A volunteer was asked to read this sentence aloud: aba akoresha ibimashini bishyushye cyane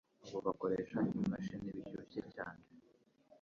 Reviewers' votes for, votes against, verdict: 1, 2, rejected